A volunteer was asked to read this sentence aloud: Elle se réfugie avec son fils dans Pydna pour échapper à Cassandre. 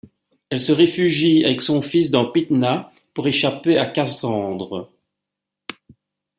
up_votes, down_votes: 2, 0